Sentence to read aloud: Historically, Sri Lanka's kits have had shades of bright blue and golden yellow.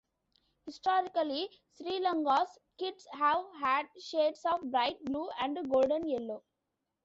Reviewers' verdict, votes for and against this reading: rejected, 0, 2